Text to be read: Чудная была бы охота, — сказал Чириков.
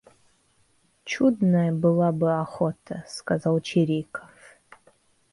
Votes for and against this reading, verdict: 2, 0, accepted